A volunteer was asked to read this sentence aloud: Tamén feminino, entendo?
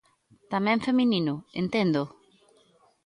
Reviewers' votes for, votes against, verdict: 2, 0, accepted